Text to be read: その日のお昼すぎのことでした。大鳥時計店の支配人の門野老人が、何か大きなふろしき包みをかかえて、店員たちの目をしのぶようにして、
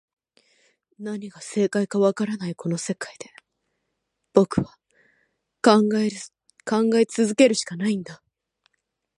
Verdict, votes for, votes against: rejected, 0, 2